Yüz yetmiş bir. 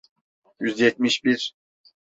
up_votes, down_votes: 2, 0